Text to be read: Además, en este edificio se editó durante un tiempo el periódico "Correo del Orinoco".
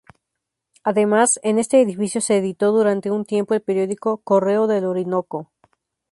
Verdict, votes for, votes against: accepted, 2, 0